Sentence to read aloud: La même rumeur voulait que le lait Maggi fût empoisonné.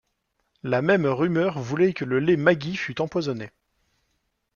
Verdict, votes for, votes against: accepted, 2, 0